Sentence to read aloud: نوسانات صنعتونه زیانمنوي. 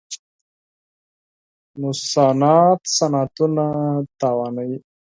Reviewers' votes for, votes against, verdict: 4, 2, accepted